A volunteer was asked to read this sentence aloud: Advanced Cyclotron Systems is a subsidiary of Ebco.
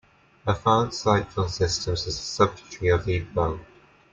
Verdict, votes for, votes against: rejected, 0, 2